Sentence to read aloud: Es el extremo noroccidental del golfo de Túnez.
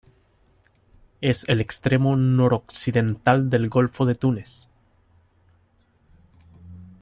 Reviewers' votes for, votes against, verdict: 2, 0, accepted